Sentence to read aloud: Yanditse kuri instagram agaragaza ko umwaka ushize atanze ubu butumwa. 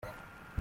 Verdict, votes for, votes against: rejected, 0, 2